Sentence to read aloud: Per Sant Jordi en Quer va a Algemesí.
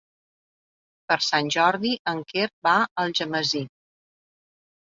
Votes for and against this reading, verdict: 3, 0, accepted